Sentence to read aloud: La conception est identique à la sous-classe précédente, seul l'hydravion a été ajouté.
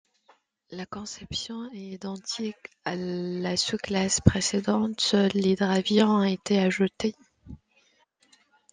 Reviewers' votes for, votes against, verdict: 1, 2, rejected